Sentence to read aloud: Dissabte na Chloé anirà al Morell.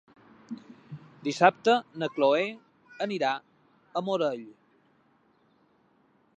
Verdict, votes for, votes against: rejected, 1, 2